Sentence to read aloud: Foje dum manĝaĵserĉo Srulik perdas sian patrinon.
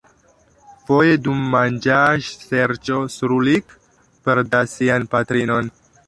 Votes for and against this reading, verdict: 0, 2, rejected